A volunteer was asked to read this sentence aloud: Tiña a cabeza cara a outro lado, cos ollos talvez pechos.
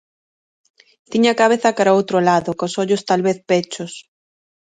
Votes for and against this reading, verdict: 2, 0, accepted